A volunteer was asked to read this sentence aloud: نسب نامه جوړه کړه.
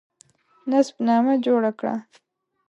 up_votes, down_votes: 0, 2